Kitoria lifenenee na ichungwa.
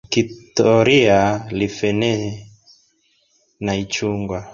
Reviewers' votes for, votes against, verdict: 2, 1, accepted